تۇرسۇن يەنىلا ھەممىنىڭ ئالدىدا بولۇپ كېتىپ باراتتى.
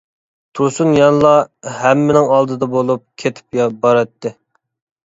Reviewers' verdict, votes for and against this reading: rejected, 1, 2